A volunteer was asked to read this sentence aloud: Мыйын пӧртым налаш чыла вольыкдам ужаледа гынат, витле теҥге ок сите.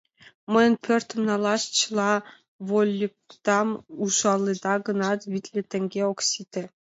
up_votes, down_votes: 2, 0